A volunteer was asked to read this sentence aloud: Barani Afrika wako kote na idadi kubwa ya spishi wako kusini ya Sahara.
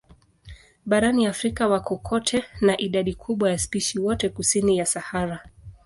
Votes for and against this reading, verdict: 1, 2, rejected